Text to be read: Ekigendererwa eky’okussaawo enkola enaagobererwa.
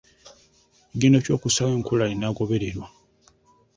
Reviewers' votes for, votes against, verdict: 1, 2, rejected